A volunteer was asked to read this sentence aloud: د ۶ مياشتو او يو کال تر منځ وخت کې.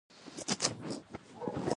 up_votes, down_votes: 0, 2